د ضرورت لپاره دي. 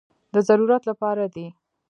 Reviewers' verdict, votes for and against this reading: accepted, 2, 0